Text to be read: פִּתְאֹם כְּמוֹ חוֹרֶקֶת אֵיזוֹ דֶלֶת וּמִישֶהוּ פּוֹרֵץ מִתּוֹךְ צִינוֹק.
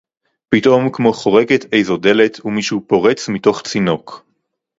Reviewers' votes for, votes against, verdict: 2, 0, accepted